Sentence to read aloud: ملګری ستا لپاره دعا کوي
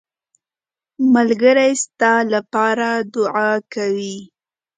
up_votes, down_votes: 2, 0